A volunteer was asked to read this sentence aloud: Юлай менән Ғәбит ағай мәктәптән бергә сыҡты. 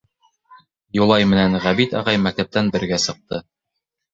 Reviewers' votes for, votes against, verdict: 1, 2, rejected